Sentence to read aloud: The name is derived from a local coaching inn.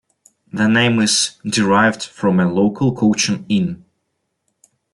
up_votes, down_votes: 2, 1